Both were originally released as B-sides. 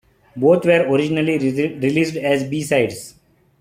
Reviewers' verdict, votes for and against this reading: accepted, 2, 1